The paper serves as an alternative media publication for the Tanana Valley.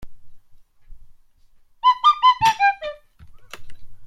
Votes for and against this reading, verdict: 0, 2, rejected